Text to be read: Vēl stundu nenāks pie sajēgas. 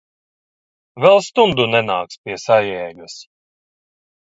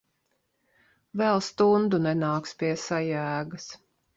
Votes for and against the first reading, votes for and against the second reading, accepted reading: 1, 2, 2, 0, second